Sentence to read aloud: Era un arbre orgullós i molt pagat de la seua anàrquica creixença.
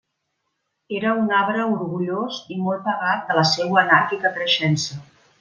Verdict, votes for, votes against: accepted, 2, 0